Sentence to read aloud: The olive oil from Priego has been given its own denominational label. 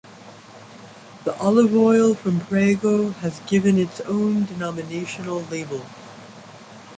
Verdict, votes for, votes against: rejected, 0, 2